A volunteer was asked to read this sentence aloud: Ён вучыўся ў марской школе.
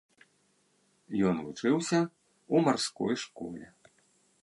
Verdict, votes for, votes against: rejected, 0, 2